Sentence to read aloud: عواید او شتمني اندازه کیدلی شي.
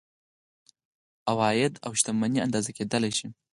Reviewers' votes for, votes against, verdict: 4, 2, accepted